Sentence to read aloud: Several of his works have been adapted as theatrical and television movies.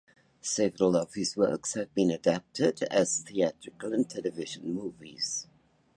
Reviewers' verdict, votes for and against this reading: accepted, 2, 0